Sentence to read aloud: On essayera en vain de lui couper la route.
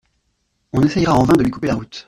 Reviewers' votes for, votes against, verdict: 1, 2, rejected